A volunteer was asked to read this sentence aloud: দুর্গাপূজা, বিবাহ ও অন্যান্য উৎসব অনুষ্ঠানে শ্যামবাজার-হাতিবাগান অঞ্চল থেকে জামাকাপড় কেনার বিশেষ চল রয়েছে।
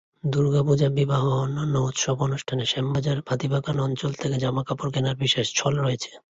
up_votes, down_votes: 2, 1